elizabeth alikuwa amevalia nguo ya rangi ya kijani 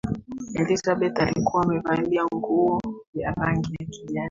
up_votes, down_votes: 2, 0